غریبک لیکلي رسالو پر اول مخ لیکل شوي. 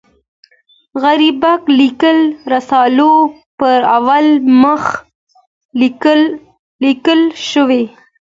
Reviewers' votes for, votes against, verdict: 2, 0, accepted